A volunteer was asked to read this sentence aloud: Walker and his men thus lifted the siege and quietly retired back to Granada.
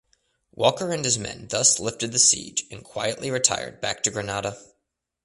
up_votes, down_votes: 2, 0